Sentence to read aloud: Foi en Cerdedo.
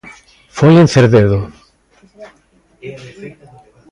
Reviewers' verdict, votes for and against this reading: rejected, 1, 2